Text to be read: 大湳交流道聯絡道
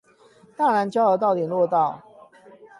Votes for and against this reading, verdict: 8, 0, accepted